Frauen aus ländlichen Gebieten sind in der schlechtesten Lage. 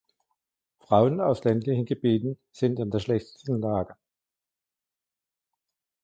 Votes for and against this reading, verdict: 2, 0, accepted